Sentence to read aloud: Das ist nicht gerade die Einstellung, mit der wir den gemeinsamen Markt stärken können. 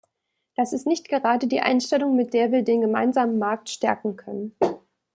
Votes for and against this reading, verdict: 2, 0, accepted